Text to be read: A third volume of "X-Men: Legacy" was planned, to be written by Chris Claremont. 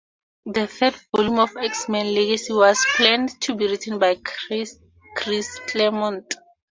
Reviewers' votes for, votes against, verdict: 0, 2, rejected